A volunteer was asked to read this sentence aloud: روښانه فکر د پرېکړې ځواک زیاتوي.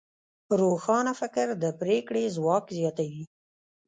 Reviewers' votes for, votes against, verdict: 1, 2, rejected